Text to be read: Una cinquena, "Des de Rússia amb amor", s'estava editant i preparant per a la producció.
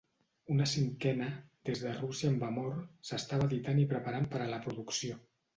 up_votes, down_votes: 2, 0